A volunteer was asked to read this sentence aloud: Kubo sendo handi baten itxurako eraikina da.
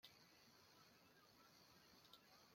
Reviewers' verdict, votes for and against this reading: rejected, 0, 2